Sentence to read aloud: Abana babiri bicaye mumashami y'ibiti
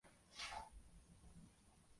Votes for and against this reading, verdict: 0, 2, rejected